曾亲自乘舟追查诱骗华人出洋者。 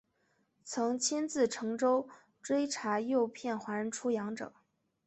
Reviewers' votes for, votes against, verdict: 2, 0, accepted